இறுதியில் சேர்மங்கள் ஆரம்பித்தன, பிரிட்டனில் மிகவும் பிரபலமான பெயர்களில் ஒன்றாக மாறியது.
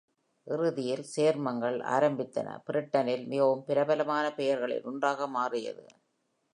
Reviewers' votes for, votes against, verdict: 2, 0, accepted